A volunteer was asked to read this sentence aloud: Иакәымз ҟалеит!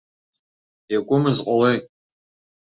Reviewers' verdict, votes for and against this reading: rejected, 1, 2